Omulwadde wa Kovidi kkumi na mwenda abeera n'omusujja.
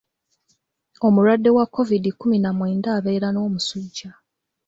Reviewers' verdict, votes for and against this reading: accepted, 2, 0